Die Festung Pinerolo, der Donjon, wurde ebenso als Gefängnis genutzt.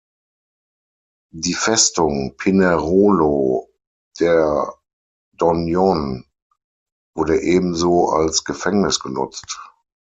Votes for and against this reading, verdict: 3, 6, rejected